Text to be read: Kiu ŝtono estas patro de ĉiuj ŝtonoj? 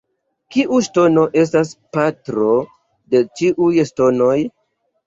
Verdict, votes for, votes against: accepted, 2, 1